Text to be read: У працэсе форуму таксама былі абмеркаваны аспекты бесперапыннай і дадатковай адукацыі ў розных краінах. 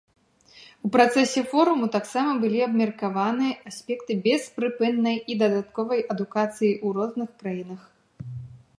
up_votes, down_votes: 0, 2